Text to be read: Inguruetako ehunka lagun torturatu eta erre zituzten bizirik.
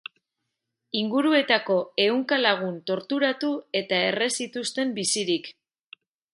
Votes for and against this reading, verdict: 2, 0, accepted